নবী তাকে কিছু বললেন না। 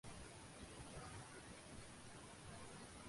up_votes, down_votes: 0, 2